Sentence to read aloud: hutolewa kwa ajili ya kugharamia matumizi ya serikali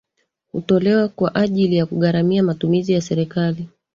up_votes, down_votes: 1, 2